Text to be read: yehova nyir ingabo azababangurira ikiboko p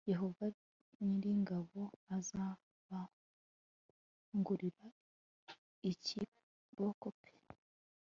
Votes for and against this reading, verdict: 1, 2, rejected